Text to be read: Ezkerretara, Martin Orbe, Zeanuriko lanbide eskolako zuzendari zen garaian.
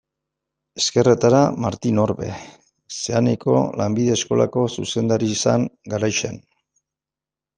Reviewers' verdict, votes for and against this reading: rejected, 1, 2